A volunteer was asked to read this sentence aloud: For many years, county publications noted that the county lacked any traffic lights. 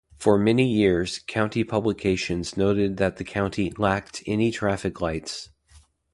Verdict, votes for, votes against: accepted, 2, 0